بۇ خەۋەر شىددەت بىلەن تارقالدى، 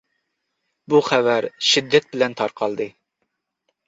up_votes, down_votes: 2, 0